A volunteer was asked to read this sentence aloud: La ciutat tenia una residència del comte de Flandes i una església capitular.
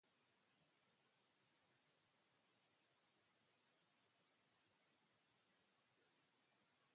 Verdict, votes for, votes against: rejected, 0, 6